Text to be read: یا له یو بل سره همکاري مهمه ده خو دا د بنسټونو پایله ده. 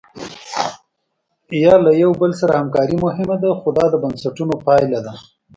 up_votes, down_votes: 2, 0